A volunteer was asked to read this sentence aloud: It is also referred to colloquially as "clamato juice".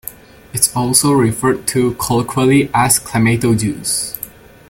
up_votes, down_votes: 3, 0